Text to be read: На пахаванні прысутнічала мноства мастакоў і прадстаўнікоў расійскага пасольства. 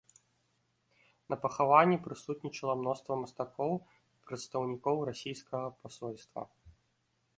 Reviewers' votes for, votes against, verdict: 2, 0, accepted